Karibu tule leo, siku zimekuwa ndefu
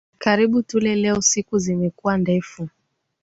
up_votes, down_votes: 17, 2